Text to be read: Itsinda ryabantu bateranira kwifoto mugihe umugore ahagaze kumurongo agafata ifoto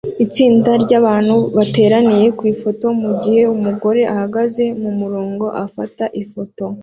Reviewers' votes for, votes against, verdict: 1, 2, rejected